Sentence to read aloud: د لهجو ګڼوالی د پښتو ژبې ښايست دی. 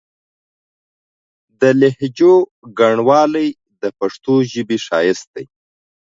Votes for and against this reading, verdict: 2, 0, accepted